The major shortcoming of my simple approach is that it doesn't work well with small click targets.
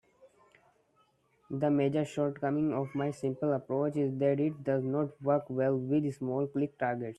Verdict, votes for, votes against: rejected, 1, 2